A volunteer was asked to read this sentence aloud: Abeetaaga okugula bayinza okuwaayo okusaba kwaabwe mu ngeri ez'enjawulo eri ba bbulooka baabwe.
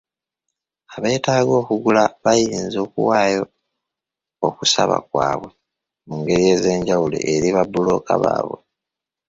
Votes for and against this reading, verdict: 0, 2, rejected